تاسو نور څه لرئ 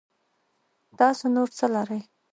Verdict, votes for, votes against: accepted, 2, 0